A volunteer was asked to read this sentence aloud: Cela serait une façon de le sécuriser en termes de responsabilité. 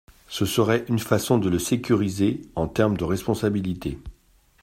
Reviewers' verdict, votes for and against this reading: rejected, 1, 2